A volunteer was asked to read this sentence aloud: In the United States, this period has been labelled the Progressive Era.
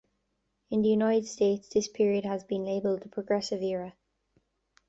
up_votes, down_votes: 2, 0